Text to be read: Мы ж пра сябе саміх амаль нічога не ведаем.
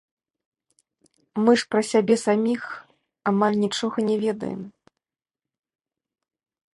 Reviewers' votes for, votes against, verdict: 2, 0, accepted